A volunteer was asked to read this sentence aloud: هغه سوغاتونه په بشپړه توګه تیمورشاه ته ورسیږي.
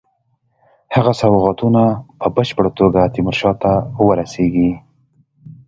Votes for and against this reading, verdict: 2, 0, accepted